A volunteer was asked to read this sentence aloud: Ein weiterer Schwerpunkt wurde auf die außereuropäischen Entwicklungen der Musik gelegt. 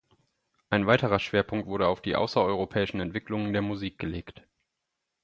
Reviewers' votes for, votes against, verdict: 4, 0, accepted